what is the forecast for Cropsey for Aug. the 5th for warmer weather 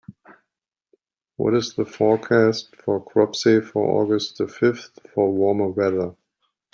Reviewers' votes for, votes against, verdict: 0, 2, rejected